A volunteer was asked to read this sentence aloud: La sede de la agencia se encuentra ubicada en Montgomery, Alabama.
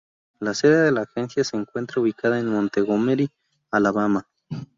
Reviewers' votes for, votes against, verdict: 0, 2, rejected